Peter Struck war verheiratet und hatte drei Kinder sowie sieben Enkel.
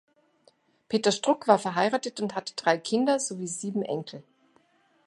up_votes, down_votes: 2, 0